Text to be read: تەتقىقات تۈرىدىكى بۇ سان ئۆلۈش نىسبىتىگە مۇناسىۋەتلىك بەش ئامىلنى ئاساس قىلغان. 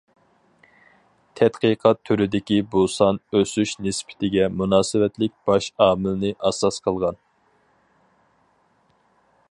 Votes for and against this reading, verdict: 2, 4, rejected